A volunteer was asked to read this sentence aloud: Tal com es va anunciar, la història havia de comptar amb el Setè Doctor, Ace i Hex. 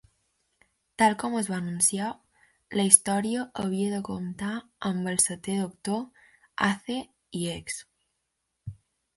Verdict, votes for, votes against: accepted, 2, 0